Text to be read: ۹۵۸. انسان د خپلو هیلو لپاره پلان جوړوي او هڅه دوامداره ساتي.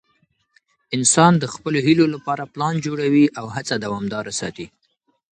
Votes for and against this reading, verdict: 0, 2, rejected